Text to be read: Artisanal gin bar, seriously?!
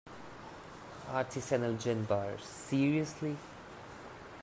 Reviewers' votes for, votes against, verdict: 3, 0, accepted